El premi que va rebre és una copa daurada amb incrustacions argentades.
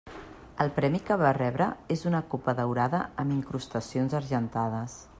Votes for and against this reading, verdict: 2, 0, accepted